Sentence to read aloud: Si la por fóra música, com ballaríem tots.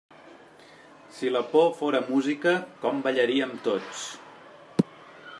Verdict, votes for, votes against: accepted, 3, 0